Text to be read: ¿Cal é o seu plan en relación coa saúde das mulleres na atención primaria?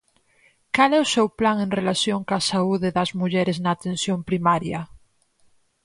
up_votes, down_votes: 4, 0